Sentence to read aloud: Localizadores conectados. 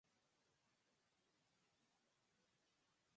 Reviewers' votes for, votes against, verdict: 0, 4, rejected